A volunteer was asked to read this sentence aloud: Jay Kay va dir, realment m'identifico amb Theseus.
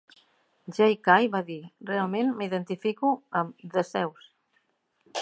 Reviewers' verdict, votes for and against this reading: accepted, 2, 0